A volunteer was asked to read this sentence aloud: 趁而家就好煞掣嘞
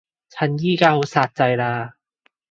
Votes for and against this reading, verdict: 2, 0, accepted